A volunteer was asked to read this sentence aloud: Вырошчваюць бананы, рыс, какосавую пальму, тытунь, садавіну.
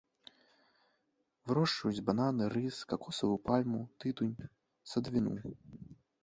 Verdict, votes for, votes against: rejected, 2, 3